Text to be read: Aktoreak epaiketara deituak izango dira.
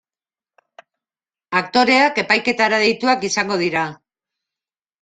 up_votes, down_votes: 2, 0